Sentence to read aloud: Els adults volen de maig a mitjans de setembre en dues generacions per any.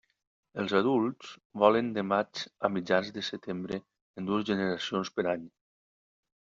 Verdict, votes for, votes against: accepted, 2, 0